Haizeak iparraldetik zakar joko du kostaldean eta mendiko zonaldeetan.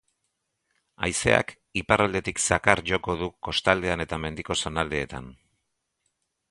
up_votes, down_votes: 2, 0